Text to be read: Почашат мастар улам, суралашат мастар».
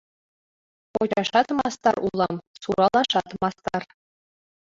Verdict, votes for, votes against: rejected, 1, 2